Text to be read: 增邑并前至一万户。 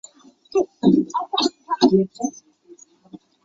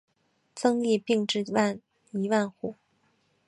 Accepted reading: second